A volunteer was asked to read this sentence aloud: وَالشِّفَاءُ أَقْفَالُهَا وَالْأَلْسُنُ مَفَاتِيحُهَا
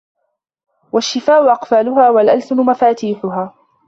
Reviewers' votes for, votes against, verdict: 1, 2, rejected